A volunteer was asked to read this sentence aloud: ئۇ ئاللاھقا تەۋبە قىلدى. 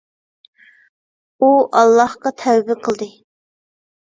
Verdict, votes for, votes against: accepted, 2, 0